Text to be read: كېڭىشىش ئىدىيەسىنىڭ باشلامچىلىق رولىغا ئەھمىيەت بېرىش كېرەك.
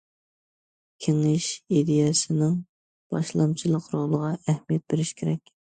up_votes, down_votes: 2, 0